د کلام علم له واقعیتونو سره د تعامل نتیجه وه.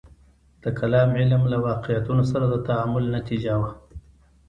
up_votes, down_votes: 1, 2